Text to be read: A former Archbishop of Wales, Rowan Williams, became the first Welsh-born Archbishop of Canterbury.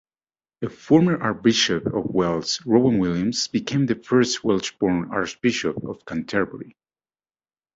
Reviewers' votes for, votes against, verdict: 2, 0, accepted